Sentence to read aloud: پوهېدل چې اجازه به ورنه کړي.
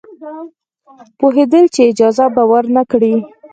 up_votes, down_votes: 0, 4